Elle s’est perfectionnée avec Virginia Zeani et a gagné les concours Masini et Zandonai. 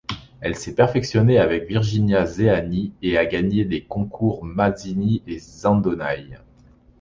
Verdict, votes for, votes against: accepted, 2, 0